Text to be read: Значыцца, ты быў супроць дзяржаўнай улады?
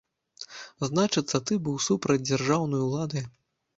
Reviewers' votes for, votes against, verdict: 1, 2, rejected